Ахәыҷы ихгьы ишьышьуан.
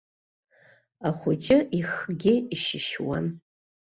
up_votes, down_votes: 2, 0